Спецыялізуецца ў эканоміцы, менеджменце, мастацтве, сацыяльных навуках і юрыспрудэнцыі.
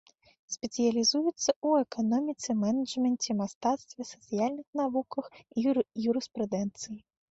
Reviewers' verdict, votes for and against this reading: rejected, 1, 2